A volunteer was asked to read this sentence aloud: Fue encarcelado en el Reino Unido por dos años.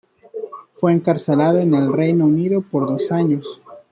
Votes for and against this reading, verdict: 1, 2, rejected